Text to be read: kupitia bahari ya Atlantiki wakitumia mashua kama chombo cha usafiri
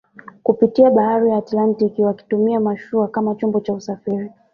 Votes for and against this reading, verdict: 1, 2, rejected